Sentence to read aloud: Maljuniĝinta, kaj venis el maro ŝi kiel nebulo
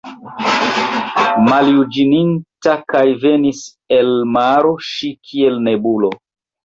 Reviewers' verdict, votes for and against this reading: rejected, 0, 2